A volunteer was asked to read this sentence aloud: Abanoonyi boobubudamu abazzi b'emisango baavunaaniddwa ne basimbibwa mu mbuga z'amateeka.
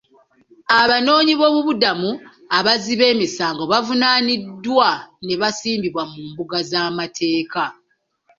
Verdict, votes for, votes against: accepted, 2, 0